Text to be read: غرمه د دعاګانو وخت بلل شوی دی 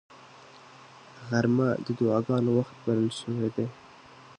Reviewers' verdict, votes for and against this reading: accepted, 3, 0